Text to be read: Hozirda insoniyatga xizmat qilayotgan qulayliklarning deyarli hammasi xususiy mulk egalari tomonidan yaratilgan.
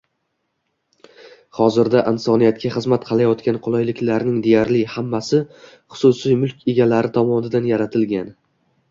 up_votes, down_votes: 2, 0